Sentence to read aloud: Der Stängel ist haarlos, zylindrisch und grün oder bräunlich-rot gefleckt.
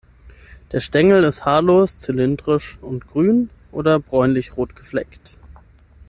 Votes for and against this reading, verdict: 6, 3, accepted